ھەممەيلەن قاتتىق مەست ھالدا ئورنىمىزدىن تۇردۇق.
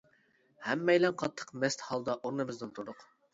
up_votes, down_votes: 2, 0